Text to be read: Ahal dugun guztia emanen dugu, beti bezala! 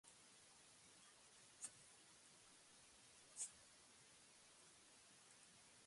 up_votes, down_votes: 0, 2